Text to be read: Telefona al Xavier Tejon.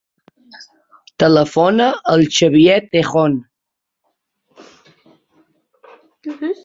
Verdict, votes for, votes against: accepted, 5, 2